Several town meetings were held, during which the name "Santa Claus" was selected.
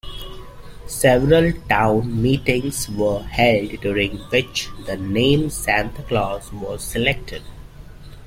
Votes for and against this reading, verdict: 2, 0, accepted